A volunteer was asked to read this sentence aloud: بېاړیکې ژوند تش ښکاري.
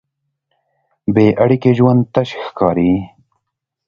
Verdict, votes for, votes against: accepted, 2, 0